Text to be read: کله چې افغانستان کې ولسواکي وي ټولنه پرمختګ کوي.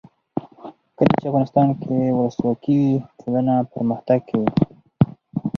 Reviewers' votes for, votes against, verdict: 0, 2, rejected